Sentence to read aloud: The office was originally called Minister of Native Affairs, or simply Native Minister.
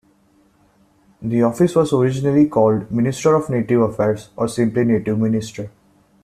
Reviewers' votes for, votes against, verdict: 2, 0, accepted